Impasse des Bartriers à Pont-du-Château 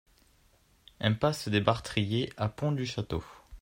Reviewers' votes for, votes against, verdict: 2, 0, accepted